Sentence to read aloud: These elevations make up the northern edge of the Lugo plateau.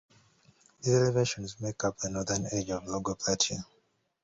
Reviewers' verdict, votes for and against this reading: rejected, 0, 2